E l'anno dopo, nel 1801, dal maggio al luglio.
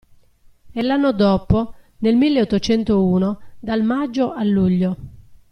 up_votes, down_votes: 0, 2